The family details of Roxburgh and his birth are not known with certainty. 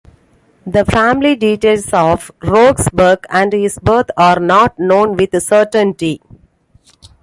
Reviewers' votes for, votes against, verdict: 2, 1, accepted